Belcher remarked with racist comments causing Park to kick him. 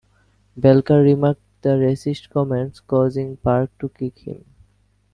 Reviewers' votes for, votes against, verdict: 2, 1, accepted